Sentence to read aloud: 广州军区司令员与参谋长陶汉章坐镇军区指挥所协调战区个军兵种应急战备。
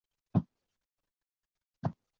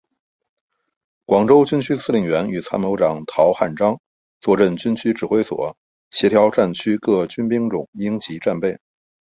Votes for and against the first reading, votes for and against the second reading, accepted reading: 1, 2, 2, 0, second